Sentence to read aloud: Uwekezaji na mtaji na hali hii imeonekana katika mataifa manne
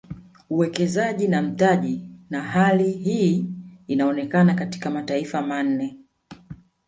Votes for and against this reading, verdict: 1, 2, rejected